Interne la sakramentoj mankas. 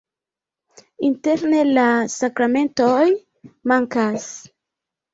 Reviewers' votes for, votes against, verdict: 2, 1, accepted